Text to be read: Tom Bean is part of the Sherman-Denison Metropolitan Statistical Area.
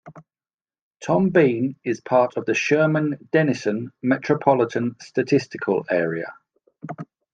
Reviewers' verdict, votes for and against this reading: accepted, 2, 0